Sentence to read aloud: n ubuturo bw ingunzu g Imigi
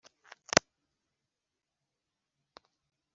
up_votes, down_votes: 3, 0